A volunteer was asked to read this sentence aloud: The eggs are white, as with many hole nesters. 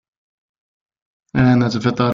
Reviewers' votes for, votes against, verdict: 0, 2, rejected